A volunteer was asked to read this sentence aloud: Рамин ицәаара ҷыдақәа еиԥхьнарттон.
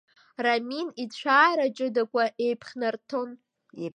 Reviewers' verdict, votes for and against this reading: rejected, 1, 2